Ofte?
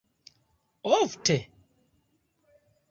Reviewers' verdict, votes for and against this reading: accepted, 2, 0